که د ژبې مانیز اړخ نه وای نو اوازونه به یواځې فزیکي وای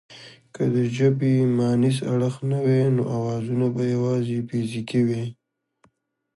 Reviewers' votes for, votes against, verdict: 2, 0, accepted